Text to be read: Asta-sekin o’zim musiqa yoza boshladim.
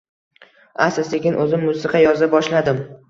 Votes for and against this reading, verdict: 1, 2, rejected